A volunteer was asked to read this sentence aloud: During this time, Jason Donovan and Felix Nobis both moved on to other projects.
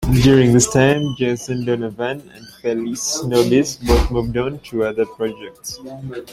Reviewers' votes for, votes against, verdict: 2, 0, accepted